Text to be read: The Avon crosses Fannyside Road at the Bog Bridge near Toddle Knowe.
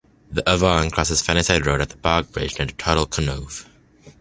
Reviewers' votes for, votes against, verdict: 1, 2, rejected